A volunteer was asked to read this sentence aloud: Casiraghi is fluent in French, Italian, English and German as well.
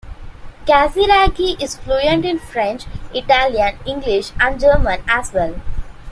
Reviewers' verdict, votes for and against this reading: accepted, 2, 0